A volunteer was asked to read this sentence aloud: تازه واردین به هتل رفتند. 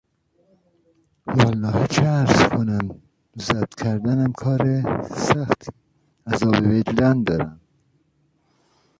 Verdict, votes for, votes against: rejected, 0, 2